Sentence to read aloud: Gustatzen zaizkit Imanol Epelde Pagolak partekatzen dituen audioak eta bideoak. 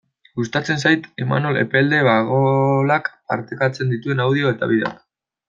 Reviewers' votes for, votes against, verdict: 0, 2, rejected